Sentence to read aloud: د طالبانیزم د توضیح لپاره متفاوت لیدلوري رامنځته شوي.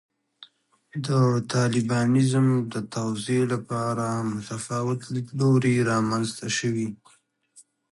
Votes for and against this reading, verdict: 0, 2, rejected